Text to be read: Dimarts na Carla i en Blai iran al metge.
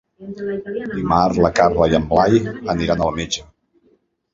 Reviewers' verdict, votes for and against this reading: rejected, 0, 2